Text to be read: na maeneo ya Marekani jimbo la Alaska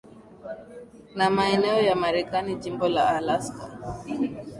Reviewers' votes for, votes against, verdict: 2, 0, accepted